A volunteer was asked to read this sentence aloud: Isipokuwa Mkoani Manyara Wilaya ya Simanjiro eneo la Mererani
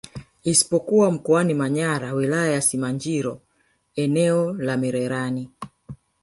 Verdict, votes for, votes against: accepted, 2, 0